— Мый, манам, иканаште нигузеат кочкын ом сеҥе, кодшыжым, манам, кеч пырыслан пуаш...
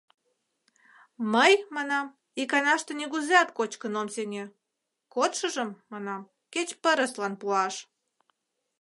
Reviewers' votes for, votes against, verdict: 2, 0, accepted